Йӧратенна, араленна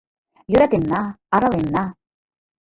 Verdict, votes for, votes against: rejected, 1, 2